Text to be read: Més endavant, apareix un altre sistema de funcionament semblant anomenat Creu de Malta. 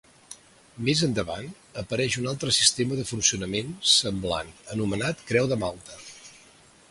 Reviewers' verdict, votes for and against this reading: accepted, 3, 0